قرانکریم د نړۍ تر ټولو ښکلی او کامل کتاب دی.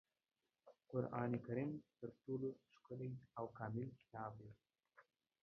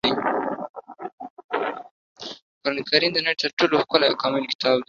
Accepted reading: second